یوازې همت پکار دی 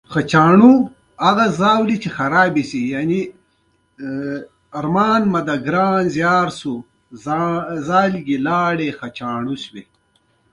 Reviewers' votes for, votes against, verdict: 0, 2, rejected